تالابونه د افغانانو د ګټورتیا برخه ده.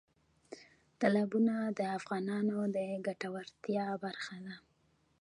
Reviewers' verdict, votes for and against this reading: rejected, 0, 2